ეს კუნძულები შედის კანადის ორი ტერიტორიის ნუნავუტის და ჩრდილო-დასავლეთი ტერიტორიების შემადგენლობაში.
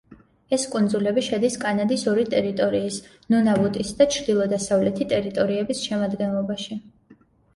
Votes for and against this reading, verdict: 2, 0, accepted